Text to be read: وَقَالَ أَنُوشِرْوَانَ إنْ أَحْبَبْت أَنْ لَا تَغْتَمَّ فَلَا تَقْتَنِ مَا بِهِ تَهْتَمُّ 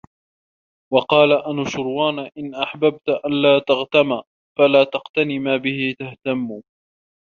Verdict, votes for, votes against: rejected, 1, 2